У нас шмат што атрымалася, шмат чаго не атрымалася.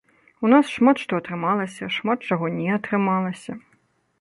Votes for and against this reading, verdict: 1, 2, rejected